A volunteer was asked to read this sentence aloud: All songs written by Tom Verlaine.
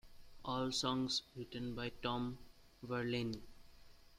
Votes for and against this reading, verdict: 2, 0, accepted